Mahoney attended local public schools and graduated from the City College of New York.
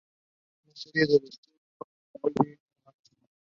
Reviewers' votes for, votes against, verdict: 0, 2, rejected